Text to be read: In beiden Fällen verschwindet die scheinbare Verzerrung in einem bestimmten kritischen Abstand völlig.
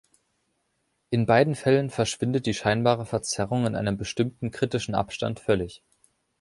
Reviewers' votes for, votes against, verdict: 2, 0, accepted